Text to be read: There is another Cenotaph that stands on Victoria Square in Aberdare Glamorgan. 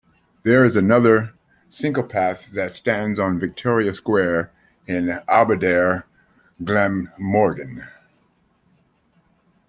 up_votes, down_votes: 1, 2